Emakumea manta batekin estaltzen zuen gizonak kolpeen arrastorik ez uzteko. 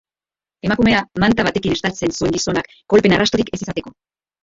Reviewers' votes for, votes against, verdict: 0, 2, rejected